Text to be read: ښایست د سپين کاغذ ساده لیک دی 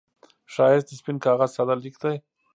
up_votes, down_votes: 0, 2